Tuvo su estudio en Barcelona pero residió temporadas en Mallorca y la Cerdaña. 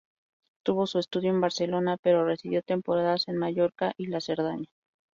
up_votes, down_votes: 2, 2